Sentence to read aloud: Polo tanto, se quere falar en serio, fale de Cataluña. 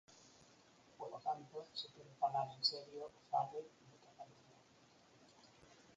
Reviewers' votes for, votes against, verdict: 2, 4, rejected